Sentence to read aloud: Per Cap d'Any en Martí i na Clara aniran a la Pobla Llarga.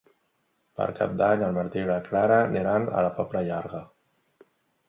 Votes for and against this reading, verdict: 3, 0, accepted